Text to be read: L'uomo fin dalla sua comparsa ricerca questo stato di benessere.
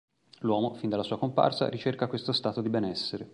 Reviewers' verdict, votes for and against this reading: accepted, 2, 0